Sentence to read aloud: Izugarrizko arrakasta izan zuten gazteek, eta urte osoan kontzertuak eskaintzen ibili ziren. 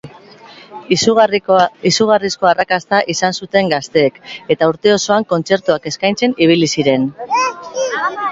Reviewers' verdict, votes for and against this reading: rejected, 2, 2